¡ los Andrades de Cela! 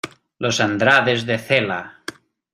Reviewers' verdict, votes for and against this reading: accepted, 2, 0